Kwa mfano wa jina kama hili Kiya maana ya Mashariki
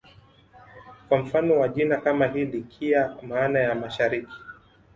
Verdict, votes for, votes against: accepted, 2, 1